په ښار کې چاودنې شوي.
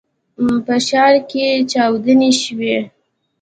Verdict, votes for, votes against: accepted, 2, 0